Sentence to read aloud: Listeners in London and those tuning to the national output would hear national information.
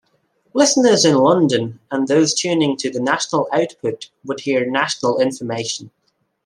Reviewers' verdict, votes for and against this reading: accepted, 2, 0